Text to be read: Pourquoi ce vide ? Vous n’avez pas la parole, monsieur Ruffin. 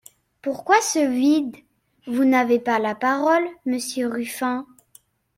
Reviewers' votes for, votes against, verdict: 2, 0, accepted